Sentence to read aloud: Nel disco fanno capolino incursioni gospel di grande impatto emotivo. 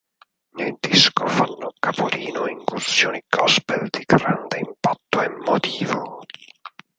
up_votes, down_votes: 4, 6